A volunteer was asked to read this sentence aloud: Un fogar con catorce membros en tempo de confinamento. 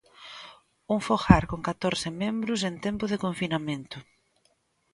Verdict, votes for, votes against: accepted, 2, 0